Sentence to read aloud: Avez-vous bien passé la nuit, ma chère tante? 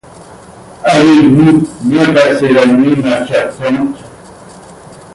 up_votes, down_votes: 0, 2